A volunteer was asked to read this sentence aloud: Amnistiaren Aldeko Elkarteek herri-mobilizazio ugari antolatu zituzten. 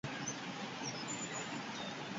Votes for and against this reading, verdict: 0, 4, rejected